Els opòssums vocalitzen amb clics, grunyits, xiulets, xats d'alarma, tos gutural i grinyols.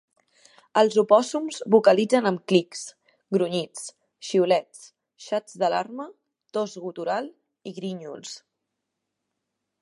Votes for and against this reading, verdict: 5, 4, accepted